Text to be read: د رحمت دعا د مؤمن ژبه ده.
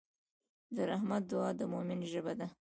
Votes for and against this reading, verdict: 2, 1, accepted